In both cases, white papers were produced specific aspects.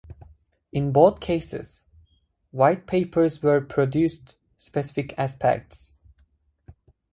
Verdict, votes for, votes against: rejected, 2, 2